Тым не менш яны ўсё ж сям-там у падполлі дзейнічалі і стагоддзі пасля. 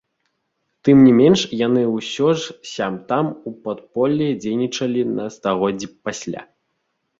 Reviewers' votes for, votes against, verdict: 0, 2, rejected